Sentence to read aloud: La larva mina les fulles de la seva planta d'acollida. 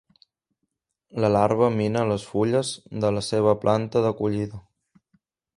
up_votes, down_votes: 3, 0